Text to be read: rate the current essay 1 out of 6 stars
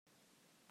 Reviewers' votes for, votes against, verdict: 0, 2, rejected